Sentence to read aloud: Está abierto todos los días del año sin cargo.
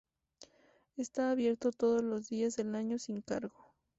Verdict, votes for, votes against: accepted, 4, 0